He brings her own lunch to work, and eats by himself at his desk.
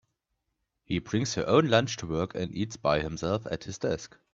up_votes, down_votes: 2, 0